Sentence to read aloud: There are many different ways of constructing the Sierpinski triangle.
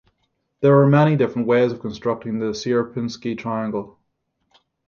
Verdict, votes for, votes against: accepted, 6, 0